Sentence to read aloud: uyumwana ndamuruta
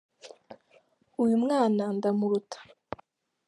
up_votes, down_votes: 2, 0